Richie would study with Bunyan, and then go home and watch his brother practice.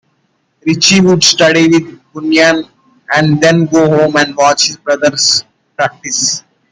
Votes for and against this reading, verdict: 1, 2, rejected